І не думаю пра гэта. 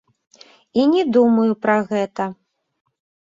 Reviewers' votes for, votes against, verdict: 1, 2, rejected